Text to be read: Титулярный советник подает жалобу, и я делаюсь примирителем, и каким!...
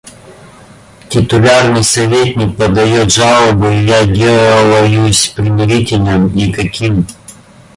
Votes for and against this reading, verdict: 0, 2, rejected